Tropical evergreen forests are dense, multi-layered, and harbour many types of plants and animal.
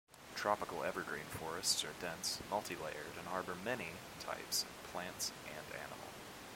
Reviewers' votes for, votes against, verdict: 2, 0, accepted